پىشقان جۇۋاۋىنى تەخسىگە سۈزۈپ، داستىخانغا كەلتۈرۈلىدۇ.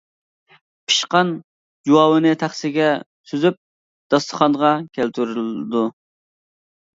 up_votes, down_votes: 2, 0